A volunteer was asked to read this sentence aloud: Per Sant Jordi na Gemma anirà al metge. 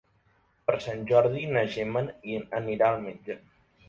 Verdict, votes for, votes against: accepted, 3, 0